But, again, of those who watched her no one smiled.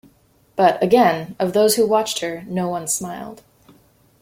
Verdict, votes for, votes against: accepted, 2, 0